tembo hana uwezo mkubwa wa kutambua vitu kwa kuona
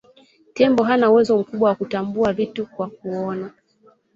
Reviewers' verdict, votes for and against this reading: accepted, 2, 0